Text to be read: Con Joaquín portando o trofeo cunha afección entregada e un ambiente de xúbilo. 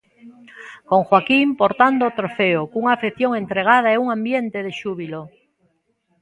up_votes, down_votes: 2, 0